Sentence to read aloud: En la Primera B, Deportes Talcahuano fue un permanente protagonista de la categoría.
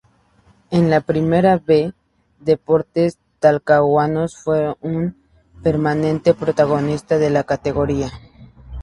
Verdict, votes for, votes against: accepted, 2, 0